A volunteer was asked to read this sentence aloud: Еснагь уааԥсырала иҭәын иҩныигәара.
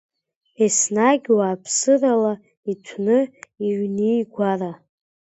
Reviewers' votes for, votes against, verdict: 1, 2, rejected